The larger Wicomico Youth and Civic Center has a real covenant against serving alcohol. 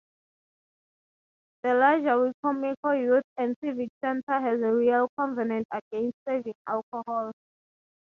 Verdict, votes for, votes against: rejected, 0, 3